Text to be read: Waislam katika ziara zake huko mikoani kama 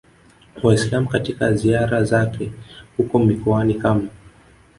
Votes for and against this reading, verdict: 2, 0, accepted